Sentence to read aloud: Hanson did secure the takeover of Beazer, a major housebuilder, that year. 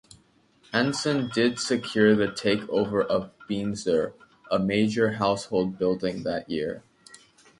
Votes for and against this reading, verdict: 0, 2, rejected